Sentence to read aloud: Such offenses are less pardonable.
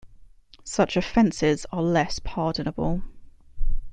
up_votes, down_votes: 2, 0